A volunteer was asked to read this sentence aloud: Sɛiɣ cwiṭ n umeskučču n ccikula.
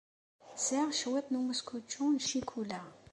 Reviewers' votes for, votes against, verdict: 2, 0, accepted